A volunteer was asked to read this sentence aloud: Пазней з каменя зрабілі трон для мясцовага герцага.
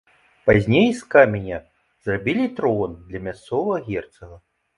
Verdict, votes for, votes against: accepted, 2, 0